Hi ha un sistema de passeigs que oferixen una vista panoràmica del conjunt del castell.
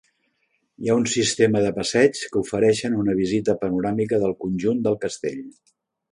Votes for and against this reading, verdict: 0, 2, rejected